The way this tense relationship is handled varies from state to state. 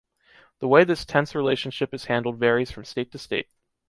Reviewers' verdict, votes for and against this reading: accepted, 3, 0